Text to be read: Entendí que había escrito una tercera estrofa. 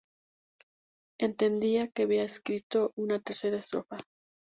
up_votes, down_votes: 0, 2